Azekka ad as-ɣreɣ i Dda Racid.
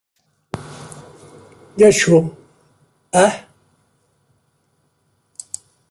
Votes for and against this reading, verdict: 0, 2, rejected